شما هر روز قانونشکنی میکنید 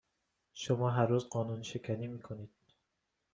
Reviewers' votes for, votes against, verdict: 2, 0, accepted